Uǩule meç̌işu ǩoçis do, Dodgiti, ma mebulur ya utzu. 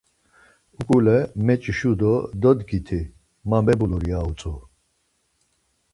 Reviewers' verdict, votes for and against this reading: rejected, 2, 4